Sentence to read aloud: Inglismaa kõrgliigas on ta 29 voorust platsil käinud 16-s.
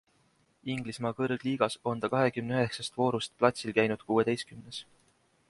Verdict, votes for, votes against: rejected, 0, 2